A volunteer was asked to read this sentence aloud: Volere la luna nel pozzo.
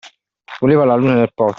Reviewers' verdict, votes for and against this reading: rejected, 0, 2